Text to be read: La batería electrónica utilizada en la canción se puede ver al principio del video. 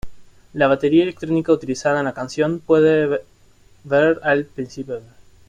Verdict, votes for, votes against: rejected, 0, 2